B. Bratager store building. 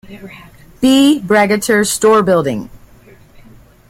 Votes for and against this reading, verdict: 0, 2, rejected